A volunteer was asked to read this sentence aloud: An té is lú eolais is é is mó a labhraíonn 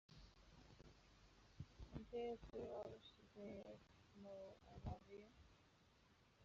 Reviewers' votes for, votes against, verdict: 0, 2, rejected